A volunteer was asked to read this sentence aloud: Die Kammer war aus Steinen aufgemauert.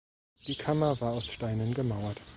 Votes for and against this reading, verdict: 0, 2, rejected